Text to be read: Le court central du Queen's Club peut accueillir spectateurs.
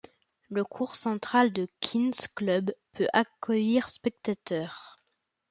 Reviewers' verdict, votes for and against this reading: rejected, 0, 2